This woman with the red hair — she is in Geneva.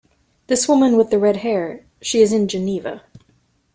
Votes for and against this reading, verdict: 2, 0, accepted